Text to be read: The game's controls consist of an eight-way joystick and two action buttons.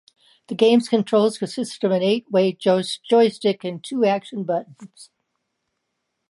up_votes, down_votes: 0, 2